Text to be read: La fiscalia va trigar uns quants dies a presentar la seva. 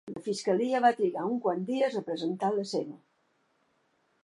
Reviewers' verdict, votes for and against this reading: rejected, 0, 2